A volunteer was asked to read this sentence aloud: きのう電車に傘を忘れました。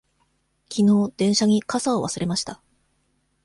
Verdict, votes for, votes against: accepted, 2, 0